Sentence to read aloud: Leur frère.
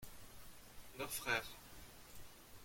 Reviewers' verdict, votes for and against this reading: accepted, 2, 0